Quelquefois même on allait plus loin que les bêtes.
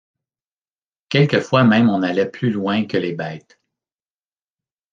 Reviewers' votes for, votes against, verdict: 2, 0, accepted